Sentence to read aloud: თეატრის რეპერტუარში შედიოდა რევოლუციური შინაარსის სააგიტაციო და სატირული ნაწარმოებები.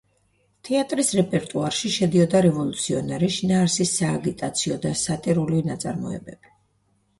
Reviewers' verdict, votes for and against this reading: accepted, 2, 0